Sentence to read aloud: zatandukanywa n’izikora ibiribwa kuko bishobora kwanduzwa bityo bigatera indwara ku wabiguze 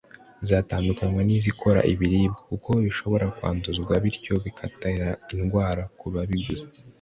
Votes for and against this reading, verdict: 0, 2, rejected